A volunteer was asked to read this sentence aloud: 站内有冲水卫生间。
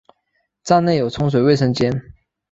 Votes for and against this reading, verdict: 5, 0, accepted